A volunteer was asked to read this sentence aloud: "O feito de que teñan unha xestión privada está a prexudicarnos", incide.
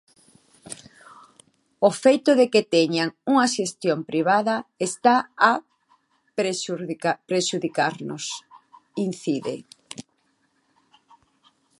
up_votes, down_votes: 0, 2